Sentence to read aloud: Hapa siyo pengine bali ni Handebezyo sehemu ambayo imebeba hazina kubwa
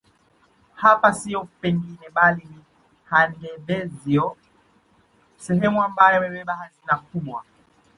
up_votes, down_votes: 1, 2